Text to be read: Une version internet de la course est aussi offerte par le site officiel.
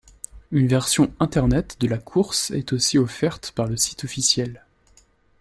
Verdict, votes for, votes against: accepted, 2, 0